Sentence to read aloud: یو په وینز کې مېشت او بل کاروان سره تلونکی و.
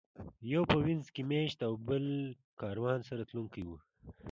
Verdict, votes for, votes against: accepted, 2, 0